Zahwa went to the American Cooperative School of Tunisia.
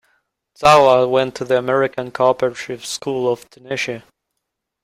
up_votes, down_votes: 0, 2